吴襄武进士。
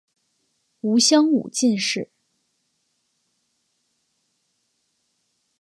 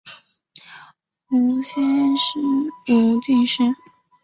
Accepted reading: first